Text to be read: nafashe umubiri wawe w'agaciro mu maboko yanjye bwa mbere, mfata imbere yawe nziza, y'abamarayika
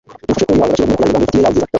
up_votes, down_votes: 0, 2